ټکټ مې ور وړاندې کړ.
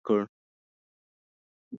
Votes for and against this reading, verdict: 0, 3, rejected